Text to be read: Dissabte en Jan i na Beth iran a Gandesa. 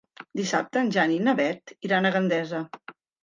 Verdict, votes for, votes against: accepted, 3, 0